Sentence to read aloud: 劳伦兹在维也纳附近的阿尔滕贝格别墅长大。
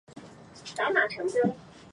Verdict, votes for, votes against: rejected, 0, 3